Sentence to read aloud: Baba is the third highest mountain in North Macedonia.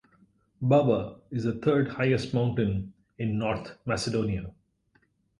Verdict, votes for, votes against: rejected, 2, 2